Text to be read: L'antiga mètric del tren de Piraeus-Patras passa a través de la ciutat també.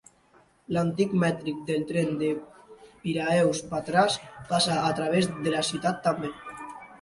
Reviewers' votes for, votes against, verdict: 0, 3, rejected